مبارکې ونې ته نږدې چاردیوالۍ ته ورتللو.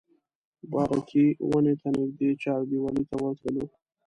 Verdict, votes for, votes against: rejected, 0, 2